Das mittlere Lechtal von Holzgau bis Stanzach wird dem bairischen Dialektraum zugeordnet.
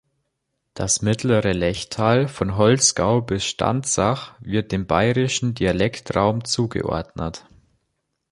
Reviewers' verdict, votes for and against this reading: accepted, 2, 0